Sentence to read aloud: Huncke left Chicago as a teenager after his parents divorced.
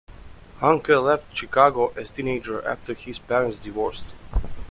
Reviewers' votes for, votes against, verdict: 2, 0, accepted